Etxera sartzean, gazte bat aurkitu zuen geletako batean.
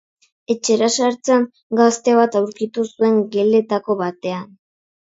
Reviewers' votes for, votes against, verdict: 3, 0, accepted